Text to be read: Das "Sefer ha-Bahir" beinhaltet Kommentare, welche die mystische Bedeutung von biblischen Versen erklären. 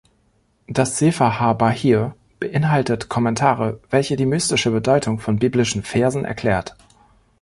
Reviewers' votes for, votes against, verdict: 0, 2, rejected